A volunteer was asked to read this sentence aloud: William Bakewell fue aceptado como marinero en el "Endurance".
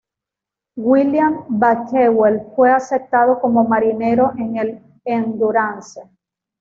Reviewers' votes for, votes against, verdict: 1, 2, rejected